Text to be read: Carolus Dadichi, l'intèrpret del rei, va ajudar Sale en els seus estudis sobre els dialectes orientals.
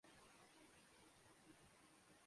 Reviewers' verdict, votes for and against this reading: rejected, 0, 2